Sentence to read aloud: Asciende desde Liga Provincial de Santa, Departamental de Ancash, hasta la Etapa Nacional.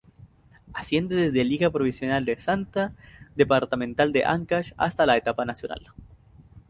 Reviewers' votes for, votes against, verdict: 2, 2, rejected